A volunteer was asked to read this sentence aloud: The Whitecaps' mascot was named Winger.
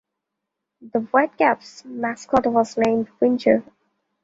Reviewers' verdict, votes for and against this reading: rejected, 0, 2